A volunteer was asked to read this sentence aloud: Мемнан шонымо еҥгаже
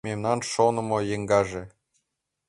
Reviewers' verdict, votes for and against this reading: accepted, 3, 0